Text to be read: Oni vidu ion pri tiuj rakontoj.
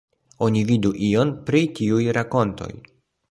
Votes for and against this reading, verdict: 2, 1, accepted